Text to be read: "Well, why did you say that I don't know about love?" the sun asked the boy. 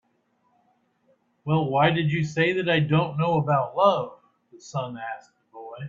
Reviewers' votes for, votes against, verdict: 6, 0, accepted